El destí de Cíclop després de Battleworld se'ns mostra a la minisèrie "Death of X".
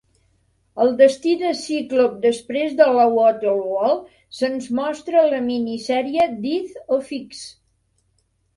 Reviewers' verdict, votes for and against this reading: accepted, 2, 0